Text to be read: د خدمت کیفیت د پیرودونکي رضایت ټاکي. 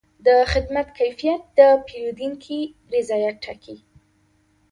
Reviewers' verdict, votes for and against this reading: accepted, 2, 0